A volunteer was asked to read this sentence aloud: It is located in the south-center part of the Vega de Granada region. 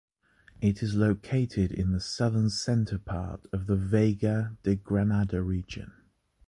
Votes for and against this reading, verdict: 2, 3, rejected